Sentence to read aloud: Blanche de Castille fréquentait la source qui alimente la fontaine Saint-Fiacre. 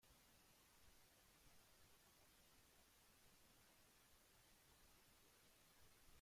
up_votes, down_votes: 1, 2